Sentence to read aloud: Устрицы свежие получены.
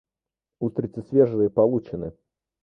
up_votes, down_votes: 1, 2